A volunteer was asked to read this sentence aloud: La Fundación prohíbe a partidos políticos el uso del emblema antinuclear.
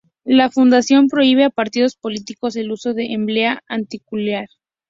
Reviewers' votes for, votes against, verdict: 0, 2, rejected